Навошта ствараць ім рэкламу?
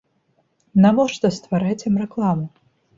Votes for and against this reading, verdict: 1, 2, rejected